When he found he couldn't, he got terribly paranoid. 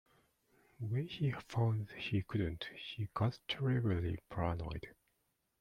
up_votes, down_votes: 0, 2